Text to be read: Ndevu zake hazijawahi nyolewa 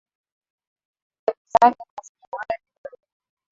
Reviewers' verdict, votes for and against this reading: rejected, 0, 2